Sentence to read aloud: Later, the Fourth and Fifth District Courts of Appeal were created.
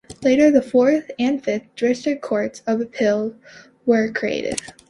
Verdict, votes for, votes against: accepted, 3, 1